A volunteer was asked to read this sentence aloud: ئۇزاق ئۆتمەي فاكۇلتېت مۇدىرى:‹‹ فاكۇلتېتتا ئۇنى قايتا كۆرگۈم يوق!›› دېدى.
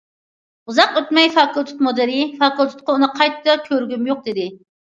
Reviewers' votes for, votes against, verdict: 1, 2, rejected